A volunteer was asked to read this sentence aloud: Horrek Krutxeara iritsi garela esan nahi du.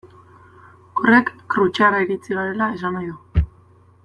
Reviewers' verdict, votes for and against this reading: rejected, 1, 2